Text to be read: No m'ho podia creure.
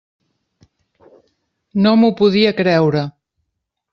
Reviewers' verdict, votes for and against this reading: accepted, 3, 0